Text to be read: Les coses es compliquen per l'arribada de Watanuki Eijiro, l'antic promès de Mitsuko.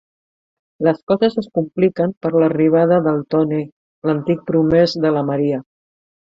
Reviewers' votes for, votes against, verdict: 1, 2, rejected